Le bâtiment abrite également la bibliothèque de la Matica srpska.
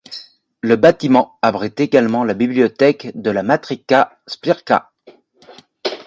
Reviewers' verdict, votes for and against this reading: rejected, 1, 2